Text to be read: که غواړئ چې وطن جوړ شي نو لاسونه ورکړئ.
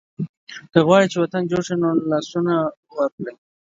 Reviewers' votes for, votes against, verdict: 2, 0, accepted